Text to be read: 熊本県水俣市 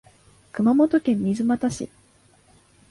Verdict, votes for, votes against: accepted, 4, 2